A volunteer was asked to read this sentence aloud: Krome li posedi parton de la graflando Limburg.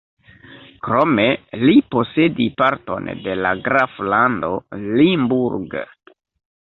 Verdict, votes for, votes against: accepted, 2, 0